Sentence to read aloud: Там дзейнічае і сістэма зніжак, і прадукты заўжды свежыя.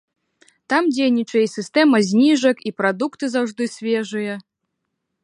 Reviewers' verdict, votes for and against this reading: accepted, 2, 0